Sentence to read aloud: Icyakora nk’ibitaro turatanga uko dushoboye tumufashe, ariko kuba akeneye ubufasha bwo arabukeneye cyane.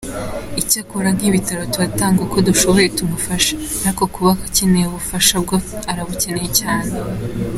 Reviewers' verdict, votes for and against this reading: accepted, 2, 0